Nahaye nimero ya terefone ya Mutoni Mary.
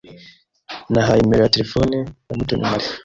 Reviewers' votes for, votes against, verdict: 2, 1, accepted